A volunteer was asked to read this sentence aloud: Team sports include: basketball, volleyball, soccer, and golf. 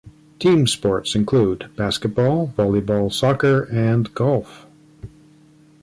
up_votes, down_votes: 2, 0